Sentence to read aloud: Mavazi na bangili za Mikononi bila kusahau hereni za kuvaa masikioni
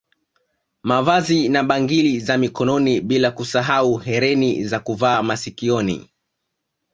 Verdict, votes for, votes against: accepted, 2, 0